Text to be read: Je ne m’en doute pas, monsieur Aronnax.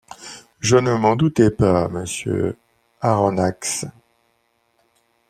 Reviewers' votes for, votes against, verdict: 1, 2, rejected